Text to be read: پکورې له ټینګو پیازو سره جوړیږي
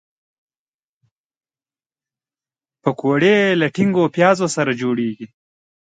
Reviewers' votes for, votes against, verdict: 2, 1, accepted